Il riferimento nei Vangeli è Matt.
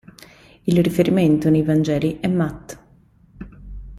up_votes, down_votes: 3, 0